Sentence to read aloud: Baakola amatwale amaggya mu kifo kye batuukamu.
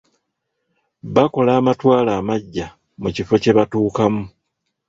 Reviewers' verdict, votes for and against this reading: rejected, 0, 2